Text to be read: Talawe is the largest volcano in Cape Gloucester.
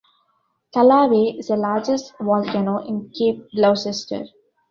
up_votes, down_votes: 1, 2